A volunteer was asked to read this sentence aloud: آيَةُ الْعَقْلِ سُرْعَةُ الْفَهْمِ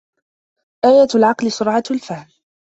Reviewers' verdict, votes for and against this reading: accepted, 2, 1